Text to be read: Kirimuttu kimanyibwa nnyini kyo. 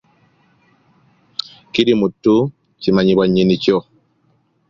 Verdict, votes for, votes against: accepted, 2, 0